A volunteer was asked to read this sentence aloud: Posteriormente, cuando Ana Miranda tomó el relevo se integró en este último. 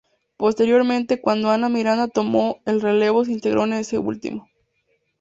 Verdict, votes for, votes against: rejected, 2, 2